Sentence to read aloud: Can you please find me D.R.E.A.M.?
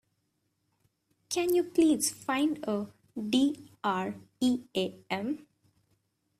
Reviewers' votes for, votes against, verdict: 0, 2, rejected